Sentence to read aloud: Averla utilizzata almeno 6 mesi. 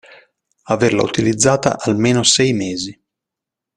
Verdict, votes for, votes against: rejected, 0, 2